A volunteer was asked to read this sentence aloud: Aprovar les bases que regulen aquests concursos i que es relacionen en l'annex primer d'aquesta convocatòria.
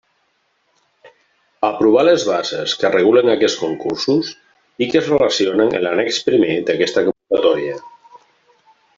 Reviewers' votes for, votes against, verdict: 1, 2, rejected